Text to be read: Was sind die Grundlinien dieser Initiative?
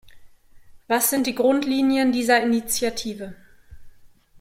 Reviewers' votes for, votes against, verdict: 2, 0, accepted